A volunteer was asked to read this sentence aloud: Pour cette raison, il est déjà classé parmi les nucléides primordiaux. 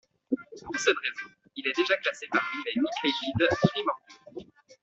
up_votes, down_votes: 1, 2